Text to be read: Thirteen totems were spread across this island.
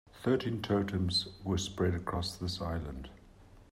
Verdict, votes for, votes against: accepted, 2, 0